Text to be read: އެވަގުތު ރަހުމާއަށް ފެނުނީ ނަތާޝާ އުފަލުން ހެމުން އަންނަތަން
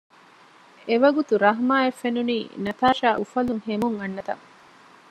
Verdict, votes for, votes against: rejected, 1, 2